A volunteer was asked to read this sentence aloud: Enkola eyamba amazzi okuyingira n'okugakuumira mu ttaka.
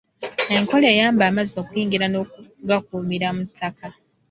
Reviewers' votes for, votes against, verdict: 2, 0, accepted